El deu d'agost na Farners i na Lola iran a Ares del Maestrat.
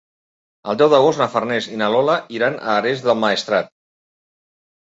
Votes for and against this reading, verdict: 1, 2, rejected